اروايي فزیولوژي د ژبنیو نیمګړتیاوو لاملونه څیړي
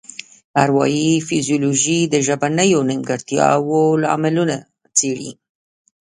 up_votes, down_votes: 2, 0